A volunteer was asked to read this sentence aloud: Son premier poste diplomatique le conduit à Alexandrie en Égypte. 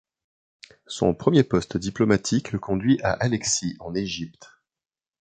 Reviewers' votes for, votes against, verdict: 0, 2, rejected